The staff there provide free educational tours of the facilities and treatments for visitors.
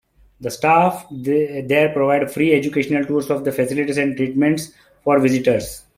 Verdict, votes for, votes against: rejected, 1, 2